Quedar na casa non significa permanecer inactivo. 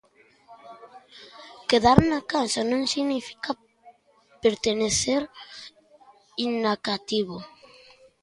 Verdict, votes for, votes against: rejected, 0, 2